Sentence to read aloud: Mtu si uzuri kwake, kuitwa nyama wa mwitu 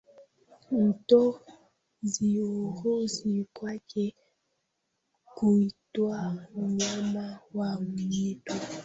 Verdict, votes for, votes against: rejected, 0, 2